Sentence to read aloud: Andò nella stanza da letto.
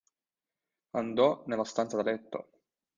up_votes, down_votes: 2, 0